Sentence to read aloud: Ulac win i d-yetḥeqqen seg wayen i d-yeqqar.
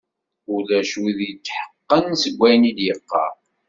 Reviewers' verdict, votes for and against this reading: accepted, 2, 1